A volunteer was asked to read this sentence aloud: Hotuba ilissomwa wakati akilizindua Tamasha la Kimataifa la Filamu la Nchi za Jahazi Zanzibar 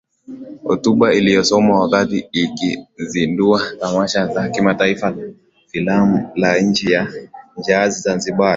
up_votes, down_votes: 0, 2